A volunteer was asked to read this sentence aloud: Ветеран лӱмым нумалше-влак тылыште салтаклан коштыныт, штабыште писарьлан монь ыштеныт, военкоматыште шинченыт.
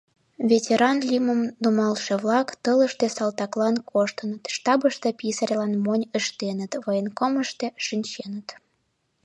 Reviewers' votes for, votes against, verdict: 1, 2, rejected